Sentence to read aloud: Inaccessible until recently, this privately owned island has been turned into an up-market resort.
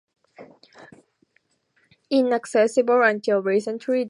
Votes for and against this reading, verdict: 0, 2, rejected